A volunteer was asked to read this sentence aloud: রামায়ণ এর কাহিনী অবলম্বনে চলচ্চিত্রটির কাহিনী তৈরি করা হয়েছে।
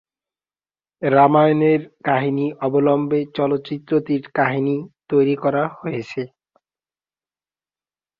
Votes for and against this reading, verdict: 0, 2, rejected